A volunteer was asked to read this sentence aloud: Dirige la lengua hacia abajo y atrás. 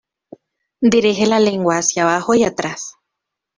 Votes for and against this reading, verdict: 2, 1, accepted